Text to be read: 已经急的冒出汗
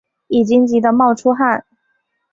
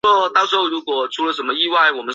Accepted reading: first